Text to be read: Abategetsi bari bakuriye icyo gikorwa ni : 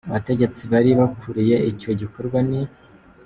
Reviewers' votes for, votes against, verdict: 3, 1, accepted